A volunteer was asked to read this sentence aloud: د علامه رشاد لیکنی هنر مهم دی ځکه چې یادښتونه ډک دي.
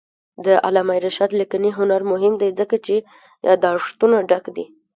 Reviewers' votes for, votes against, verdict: 2, 1, accepted